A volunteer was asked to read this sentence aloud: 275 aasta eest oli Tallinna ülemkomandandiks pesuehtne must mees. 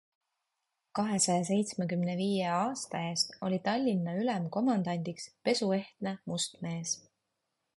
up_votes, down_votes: 0, 2